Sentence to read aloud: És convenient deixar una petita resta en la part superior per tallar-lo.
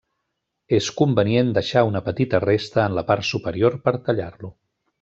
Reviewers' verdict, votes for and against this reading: accepted, 3, 0